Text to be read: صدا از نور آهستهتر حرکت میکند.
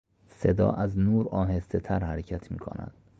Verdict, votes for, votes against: accepted, 2, 0